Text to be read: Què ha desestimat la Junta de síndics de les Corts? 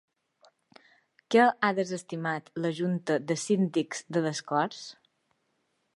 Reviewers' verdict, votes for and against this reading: rejected, 1, 2